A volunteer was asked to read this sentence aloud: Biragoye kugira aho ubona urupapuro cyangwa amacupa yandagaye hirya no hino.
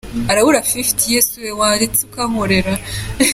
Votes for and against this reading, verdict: 0, 2, rejected